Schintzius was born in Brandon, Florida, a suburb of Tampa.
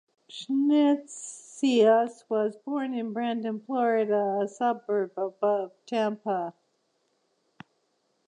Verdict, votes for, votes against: rejected, 0, 2